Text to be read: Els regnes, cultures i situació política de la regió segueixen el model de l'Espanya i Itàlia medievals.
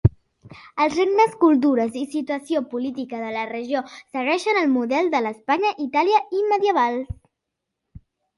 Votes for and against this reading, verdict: 0, 2, rejected